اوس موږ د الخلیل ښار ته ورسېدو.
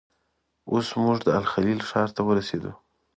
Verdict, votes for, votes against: accepted, 2, 0